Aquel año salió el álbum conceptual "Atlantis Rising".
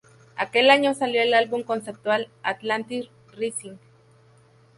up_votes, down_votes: 0, 4